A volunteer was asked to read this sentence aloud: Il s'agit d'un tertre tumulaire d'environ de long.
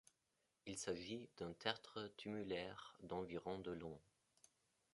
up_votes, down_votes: 2, 0